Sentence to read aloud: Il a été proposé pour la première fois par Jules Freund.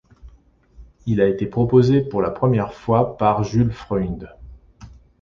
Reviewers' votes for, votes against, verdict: 2, 0, accepted